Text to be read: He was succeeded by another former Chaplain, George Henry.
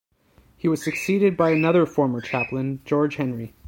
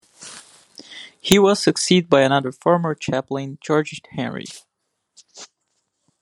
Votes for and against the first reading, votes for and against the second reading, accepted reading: 2, 0, 0, 2, first